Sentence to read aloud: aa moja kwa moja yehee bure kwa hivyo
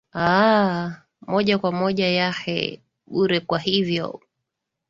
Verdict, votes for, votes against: accepted, 2, 0